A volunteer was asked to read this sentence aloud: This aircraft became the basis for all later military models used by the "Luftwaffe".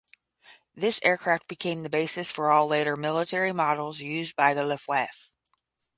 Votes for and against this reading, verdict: 5, 5, rejected